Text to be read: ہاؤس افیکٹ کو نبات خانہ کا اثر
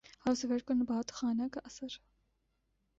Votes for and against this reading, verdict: 1, 2, rejected